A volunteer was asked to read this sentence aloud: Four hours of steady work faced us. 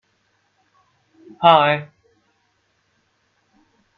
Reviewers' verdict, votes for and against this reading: rejected, 0, 2